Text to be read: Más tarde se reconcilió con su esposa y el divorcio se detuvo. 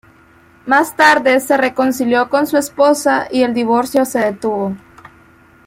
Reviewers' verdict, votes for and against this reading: accepted, 2, 0